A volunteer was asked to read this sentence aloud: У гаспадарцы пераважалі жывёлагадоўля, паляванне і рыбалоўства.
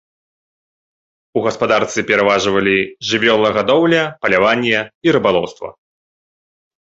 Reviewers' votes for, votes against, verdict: 0, 3, rejected